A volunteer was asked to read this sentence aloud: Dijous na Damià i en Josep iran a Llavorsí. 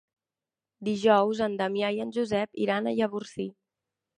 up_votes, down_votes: 2, 3